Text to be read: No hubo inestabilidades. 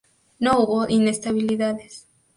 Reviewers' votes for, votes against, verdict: 2, 0, accepted